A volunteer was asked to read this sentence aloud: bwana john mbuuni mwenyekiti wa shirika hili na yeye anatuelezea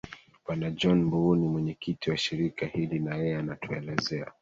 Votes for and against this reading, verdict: 2, 1, accepted